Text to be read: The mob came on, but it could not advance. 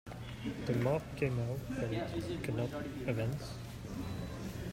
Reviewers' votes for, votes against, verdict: 0, 2, rejected